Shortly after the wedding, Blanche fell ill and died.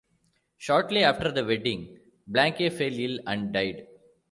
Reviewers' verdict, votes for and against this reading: rejected, 0, 2